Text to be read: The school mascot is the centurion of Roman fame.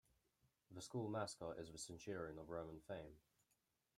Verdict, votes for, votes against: rejected, 1, 2